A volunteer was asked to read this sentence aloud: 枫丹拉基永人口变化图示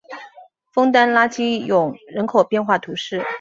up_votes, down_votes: 1, 2